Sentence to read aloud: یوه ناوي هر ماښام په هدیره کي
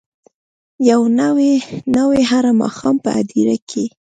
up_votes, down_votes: 1, 2